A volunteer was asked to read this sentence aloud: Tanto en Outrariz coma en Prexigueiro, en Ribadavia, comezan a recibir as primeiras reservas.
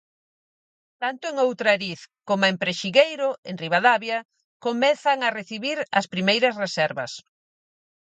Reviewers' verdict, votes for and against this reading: accepted, 4, 0